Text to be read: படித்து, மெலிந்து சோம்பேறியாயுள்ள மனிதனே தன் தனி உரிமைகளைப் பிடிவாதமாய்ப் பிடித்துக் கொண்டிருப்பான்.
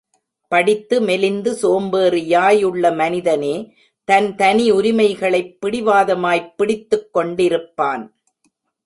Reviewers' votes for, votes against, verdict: 2, 0, accepted